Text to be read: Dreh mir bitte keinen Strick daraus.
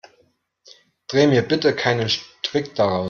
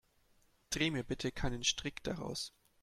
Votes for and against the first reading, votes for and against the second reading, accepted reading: 0, 2, 2, 0, second